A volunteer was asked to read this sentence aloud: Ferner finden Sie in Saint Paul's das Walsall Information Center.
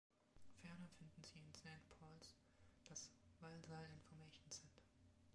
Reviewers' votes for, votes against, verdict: 1, 2, rejected